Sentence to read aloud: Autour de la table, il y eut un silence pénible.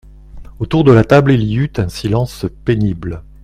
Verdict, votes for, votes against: accepted, 2, 0